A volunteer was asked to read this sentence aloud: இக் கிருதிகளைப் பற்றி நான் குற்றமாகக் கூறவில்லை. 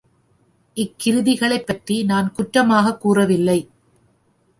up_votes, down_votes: 2, 0